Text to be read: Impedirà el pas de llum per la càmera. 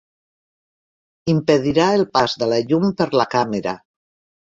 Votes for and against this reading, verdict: 1, 3, rejected